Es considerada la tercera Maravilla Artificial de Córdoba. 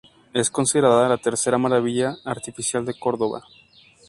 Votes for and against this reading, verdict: 2, 0, accepted